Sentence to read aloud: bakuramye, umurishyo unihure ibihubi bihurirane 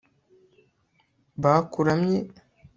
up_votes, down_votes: 0, 2